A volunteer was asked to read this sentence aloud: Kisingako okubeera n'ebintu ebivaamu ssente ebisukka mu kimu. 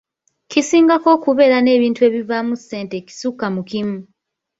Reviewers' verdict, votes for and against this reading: rejected, 1, 3